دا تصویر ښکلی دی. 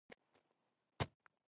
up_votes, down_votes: 1, 2